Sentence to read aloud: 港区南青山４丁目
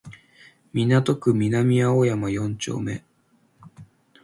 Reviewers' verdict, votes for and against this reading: rejected, 0, 2